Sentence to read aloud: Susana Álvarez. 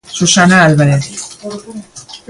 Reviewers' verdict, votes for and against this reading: accepted, 2, 1